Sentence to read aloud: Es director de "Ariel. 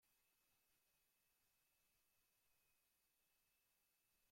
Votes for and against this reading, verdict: 0, 2, rejected